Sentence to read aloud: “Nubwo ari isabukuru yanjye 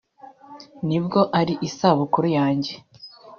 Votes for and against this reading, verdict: 2, 0, accepted